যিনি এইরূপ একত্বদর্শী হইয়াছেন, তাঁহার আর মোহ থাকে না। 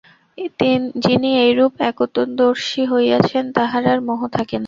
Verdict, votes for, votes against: rejected, 0, 2